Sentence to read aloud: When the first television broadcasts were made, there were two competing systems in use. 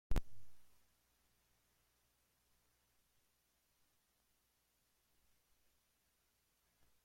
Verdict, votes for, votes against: rejected, 0, 2